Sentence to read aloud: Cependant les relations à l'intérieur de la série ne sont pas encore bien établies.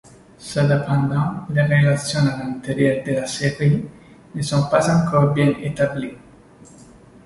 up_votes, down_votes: 2, 1